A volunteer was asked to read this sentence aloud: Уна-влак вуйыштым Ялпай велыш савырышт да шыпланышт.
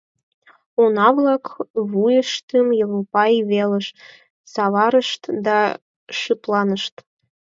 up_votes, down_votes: 2, 4